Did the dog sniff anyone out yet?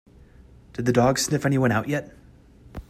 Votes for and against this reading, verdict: 2, 0, accepted